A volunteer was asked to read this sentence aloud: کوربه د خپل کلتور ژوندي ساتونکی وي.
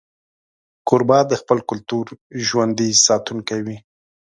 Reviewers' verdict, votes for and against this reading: accepted, 3, 0